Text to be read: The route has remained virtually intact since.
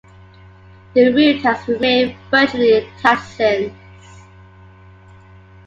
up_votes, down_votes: 2, 0